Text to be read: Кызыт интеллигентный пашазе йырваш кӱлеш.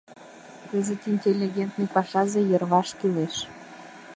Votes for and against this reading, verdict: 0, 2, rejected